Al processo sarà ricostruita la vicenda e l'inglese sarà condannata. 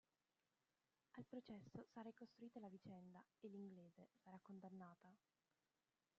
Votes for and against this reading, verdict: 0, 2, rejected